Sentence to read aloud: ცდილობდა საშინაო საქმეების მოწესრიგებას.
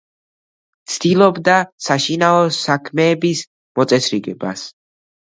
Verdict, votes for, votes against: accepted, 2, 0